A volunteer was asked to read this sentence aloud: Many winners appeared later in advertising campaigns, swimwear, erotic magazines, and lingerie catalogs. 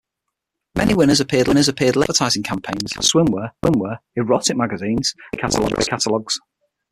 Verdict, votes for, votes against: rejected, 3, 9